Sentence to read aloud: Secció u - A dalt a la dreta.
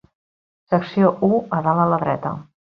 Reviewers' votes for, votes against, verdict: 2, 0, accepted